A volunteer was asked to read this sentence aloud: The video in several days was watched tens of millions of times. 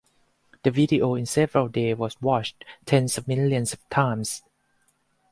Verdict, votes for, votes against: rejected, 2, 4